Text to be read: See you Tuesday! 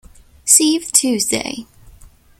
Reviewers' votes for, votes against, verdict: 0, 2, rejected